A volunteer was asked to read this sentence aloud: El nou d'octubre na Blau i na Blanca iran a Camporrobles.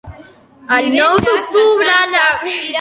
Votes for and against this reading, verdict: 0, 2, rejected